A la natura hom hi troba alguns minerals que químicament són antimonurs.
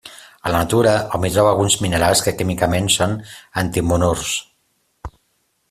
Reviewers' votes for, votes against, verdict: 2, 0, accepted